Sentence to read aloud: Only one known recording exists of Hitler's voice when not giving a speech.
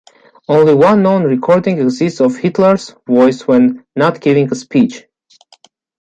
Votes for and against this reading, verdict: 2, 1, accepted